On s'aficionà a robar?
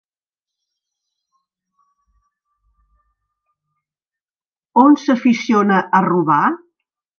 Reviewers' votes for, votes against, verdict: 3, 0, accepted